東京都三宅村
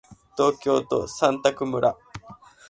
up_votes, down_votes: 1, 2